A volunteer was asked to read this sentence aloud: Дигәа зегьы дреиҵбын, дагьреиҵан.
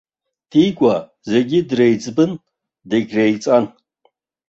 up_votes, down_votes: 2, 0